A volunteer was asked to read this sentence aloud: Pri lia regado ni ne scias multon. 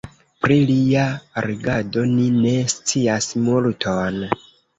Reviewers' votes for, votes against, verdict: 2, 1, accepted